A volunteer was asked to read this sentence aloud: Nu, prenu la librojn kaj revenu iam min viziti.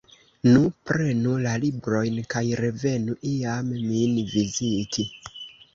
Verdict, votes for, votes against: rejected, 0, 2